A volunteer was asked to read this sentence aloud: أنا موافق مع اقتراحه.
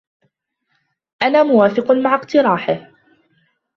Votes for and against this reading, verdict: 2, 0, accepted